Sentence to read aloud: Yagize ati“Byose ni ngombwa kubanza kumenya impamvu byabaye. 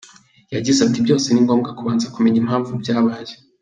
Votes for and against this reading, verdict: 2, 0, accepted